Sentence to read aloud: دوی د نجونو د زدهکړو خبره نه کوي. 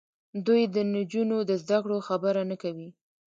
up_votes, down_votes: 1, 2